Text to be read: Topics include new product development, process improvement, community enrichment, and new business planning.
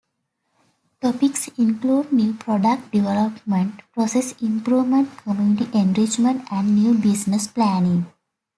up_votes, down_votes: 2, 0